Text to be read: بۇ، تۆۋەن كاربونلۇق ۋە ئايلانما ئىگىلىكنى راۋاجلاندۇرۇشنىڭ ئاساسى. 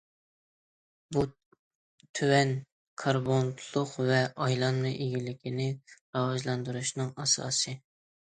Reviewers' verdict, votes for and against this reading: accepted, 2, 0